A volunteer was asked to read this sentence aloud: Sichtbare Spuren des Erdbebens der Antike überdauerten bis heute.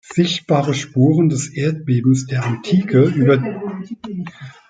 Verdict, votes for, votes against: rejected, 0, 2